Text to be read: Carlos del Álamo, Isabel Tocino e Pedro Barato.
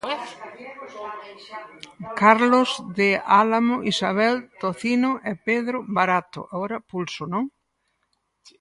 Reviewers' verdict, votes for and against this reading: rejected, 0, 4